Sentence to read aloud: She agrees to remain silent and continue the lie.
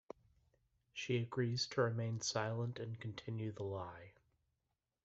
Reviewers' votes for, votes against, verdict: 2, 0, accepted